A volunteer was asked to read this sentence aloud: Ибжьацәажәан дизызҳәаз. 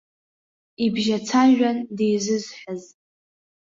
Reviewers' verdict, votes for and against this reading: accepted, 2, 0